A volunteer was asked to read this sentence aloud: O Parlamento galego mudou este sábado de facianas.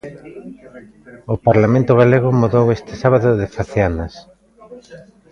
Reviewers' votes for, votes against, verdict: 1, 2, rejected